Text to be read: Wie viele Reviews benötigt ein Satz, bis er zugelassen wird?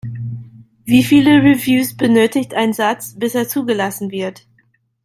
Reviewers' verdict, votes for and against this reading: accepted, 2, 0